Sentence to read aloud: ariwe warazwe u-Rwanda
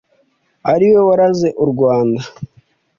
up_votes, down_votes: 1, 2